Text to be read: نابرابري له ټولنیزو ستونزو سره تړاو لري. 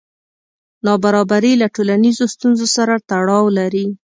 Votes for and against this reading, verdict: 2, 0, accepted